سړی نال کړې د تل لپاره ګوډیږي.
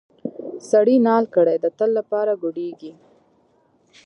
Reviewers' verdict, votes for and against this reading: rejected, 1, 2